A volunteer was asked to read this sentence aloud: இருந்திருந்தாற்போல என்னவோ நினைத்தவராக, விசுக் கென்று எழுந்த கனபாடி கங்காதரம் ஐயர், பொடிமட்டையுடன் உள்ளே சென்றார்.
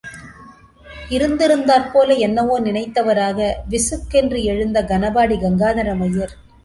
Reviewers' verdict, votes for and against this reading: rejected, 1, 2